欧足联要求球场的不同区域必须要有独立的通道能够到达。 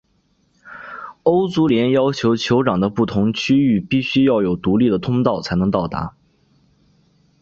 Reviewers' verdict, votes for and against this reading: accepted, 2, 0